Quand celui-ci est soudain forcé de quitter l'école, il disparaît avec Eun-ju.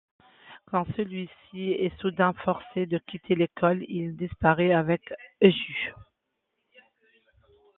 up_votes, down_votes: 2, 1